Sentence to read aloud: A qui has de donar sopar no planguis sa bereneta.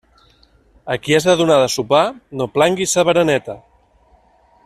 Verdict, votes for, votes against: rejected, 1, 2